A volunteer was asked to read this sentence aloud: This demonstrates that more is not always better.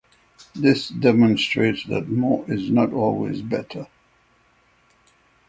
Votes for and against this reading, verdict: 6, 0, accepted